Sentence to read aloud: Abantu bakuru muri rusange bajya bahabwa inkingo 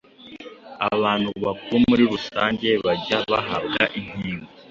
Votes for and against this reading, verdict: 2, 0, accepted